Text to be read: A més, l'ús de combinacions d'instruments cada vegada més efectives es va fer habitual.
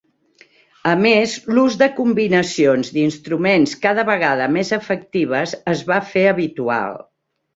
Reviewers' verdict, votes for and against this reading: accepted, 3, 0